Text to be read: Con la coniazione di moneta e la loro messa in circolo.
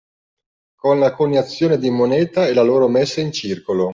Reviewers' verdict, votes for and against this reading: accepted, 2, 0